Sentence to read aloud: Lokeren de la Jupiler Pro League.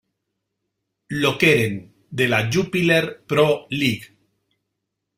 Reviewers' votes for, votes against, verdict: 2, 0, accepted